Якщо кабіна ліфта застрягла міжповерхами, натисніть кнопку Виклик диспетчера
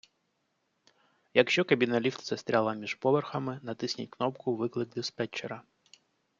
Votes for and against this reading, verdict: 1, 2, rejected